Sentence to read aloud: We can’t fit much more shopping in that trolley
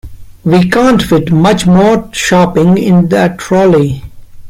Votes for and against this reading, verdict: 0, 2, rejected